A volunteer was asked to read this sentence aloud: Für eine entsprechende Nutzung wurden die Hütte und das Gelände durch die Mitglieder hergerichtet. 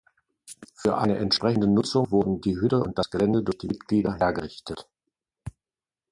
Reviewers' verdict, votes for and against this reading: accepted, 2, 0